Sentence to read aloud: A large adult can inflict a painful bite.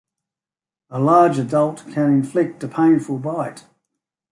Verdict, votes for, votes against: accepted, 2, 0